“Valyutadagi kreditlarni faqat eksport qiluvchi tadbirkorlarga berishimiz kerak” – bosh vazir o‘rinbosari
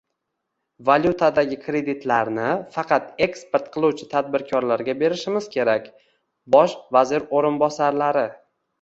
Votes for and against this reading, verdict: 0, 2, rejected